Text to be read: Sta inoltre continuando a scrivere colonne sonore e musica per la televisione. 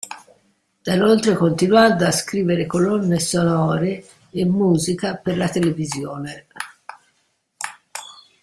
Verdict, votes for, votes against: rejected, 0, 2